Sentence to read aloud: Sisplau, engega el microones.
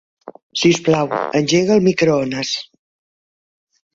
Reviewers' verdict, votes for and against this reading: accepted, 2, 1